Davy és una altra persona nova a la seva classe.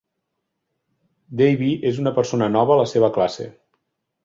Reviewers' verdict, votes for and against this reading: rejected, 1, 2